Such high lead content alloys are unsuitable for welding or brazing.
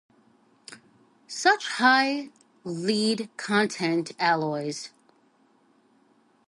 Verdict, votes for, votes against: rejected, 0, 2